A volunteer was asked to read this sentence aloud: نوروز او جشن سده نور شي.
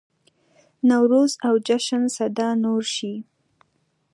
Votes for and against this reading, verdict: 2, 0, accepted